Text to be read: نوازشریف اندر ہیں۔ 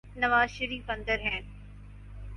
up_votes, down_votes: 4, 0